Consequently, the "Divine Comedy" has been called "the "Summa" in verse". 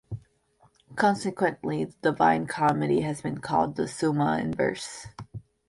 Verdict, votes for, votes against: rejected, 0, 2